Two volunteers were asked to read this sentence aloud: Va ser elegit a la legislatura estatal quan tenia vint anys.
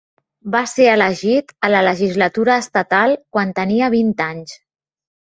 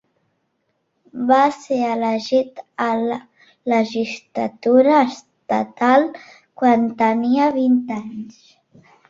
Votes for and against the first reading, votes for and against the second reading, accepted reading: 3, 0, 0, 2, first